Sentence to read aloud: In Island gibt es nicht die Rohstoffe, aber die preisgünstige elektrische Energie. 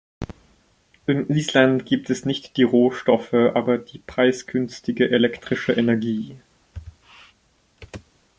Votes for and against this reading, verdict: 2, 0, accepted